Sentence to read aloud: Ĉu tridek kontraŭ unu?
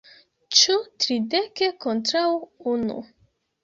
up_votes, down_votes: 1, 2